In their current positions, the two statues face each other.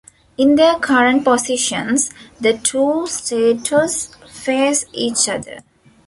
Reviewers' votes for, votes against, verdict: 1, 2, rejected